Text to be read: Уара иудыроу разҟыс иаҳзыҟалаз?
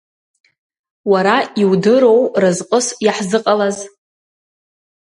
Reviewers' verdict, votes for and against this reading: accepted, 2, 0